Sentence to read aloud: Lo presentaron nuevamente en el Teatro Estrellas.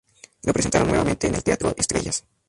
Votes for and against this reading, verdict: 0, 2, rejected